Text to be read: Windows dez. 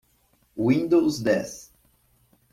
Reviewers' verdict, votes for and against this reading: accepted, 2, 0